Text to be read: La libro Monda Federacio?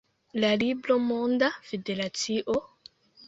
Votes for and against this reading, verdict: 2, 0, accepted